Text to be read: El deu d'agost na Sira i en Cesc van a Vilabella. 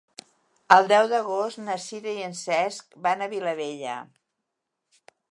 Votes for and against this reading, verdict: 2, 0, accepted